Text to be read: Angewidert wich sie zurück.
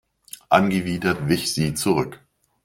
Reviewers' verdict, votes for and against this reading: accepted, 2, 0